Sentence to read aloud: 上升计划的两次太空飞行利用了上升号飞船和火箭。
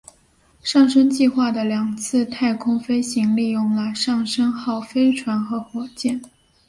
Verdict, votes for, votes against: accepted, 2, 0